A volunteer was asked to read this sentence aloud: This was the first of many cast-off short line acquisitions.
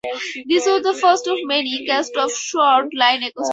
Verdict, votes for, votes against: rejected, 0, 4